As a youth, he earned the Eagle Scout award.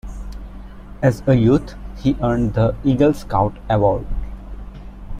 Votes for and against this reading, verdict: 1, 2, rejected